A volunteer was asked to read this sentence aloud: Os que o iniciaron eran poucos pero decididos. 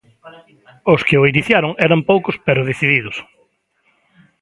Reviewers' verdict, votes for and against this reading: rejected, 0, 2